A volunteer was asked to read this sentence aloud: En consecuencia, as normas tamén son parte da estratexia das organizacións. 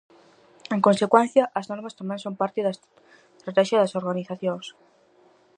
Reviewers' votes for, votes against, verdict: 0, 4, rejected